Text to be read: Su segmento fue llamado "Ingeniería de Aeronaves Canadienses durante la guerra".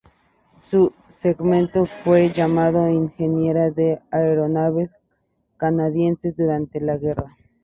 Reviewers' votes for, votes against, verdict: 0, 2, rejected